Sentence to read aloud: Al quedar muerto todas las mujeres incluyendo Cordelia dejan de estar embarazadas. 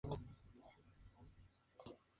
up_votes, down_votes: 0, 2